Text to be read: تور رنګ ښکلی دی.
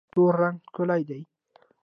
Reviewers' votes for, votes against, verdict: 2, 1, accepted